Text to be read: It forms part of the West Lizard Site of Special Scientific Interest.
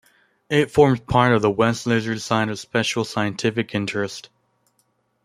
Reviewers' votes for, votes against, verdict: 2, 0, accepted